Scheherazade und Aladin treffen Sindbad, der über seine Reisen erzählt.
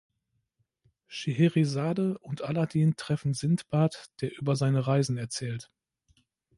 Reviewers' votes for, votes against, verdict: 2, 0, accepted